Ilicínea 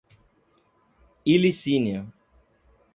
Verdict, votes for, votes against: accepted, 2, 0